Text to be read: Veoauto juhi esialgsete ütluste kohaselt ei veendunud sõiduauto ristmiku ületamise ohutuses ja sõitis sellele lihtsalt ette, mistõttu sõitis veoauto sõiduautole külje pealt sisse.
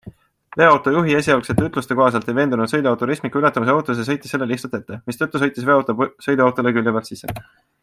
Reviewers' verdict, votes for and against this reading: accepted, 2, 0